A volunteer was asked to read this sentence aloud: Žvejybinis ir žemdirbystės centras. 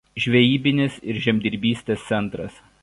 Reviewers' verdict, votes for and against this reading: accepted, 2, 0